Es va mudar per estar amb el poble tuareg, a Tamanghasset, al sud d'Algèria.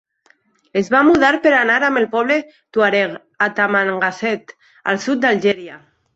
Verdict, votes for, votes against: rejected, 1, 2